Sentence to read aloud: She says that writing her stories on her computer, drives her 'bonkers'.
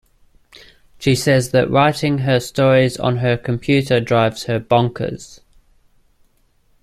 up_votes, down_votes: 2, 0